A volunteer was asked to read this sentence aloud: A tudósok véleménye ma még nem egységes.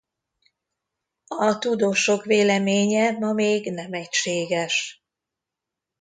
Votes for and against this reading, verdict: 2, 1, accepted